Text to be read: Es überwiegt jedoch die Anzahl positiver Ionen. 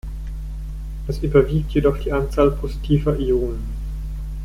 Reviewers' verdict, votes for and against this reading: accepted, 2, 0